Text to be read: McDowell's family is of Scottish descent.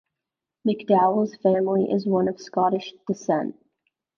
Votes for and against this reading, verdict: 1, 2, rejected